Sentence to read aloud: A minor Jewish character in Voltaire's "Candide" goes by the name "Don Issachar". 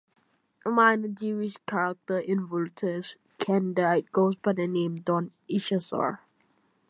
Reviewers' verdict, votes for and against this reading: rejected, 1, 2